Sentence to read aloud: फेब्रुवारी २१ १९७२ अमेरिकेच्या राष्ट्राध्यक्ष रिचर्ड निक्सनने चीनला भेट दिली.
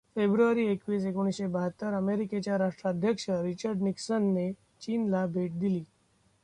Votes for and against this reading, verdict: 0, 2, rejected